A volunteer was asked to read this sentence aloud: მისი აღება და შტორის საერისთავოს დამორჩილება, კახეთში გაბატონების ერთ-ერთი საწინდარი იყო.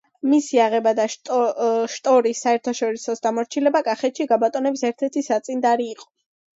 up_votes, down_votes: 1, 2